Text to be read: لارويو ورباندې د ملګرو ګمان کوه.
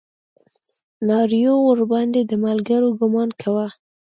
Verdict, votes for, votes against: rejected, 0, 2